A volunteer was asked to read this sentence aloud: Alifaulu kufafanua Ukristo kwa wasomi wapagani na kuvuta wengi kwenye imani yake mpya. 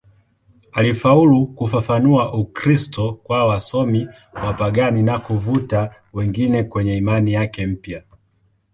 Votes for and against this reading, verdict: 2, 0, accepted